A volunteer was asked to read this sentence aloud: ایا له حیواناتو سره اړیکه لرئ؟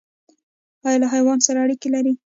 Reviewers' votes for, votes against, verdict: 1, 2, rejected